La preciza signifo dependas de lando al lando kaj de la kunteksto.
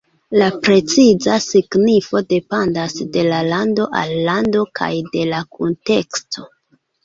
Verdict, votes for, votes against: rejected, 1, 2